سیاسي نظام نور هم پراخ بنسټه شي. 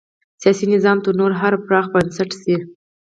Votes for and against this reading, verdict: 4, 0, accepted